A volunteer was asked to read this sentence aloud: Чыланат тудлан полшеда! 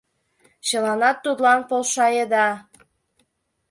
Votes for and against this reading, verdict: 1, 2, rejected